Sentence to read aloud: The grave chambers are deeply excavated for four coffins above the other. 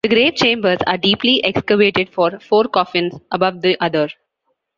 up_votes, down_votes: 2, 1